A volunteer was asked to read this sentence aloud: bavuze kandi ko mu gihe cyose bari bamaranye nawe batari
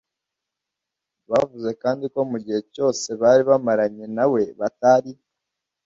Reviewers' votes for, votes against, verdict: 2, 0, accepted